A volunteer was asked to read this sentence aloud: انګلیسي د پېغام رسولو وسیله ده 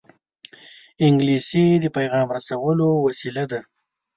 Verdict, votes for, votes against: accepted, 2, 0